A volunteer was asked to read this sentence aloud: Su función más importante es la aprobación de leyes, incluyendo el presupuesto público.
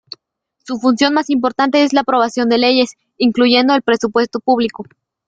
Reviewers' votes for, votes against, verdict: 2, 0, accepted